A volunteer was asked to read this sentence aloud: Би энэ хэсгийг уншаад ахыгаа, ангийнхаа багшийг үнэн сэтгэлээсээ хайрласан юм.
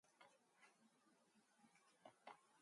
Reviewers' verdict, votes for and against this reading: rejected, 0, 4